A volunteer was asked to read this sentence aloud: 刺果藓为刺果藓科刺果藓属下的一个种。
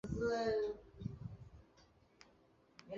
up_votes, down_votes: 0, 2